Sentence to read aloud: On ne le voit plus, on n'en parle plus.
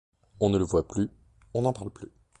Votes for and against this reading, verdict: 2, 0, accepted